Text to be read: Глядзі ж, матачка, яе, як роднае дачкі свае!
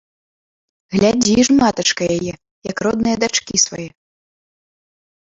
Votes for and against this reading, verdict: 0, 2, rejected